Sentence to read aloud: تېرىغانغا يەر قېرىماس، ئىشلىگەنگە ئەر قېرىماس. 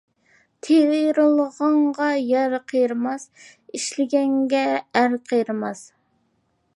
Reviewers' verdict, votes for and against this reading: rejected, 0, 2